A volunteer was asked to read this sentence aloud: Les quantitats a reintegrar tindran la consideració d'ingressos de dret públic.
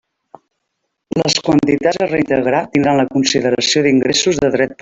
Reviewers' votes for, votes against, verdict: 0, 2, rejected